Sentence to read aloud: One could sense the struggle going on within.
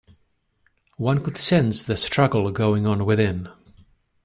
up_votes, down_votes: 2, 0